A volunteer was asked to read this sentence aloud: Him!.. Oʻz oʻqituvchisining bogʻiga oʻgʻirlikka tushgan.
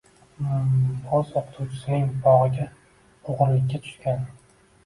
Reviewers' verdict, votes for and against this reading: rejected, 1, 2